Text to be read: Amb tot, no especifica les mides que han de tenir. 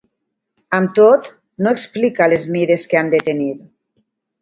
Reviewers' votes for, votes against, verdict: 0, 2, rejected